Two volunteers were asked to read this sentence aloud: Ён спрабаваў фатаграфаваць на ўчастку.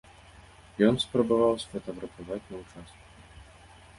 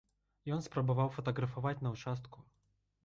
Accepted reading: second